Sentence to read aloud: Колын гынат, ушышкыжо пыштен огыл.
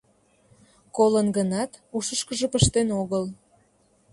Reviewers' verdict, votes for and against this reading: accepted, 2, 0